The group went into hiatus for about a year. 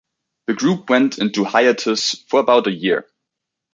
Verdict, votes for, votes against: rejected, 1, 2